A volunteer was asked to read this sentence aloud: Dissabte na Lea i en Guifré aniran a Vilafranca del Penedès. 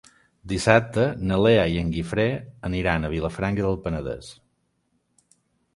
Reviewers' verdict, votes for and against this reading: accepted, 3, 0